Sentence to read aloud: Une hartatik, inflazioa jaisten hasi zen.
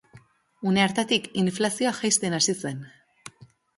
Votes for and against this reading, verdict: 2, 0, accepted